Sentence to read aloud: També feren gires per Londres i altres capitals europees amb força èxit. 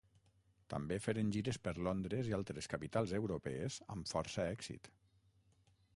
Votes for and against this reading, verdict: 3, 6, rejected